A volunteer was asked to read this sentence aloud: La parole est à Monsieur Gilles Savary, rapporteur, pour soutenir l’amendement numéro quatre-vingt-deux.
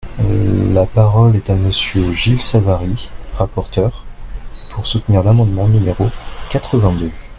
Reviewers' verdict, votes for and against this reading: accepted, 2, 0